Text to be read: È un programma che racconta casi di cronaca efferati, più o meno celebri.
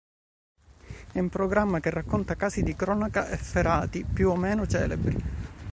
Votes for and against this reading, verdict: 2, 0, accepted